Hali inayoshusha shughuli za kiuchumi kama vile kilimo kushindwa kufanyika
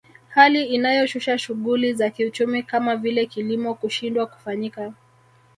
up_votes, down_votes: 1, 2